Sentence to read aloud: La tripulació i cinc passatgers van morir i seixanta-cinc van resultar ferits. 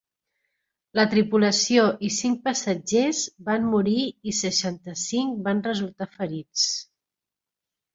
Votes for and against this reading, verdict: 4, 0, accepted